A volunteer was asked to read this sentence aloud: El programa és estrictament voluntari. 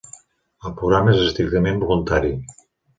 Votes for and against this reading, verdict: 1, 2, rejected